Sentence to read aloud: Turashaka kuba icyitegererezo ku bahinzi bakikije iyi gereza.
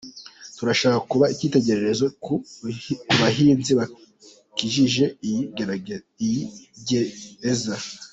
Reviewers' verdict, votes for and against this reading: rejected, 0, 2